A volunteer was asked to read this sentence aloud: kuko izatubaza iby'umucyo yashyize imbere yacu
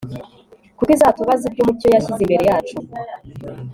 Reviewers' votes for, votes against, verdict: 2, 0, accepted